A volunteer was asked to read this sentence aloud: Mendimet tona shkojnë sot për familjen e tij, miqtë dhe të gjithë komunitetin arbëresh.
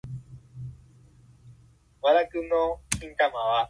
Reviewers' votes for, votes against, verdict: 0, 2, rejected